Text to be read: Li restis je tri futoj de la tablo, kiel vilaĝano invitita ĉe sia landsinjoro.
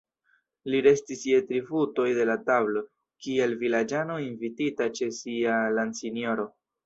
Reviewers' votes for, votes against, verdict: 1, 2, rejected